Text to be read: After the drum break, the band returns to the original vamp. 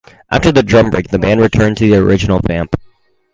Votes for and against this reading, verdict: 2, 4, rejected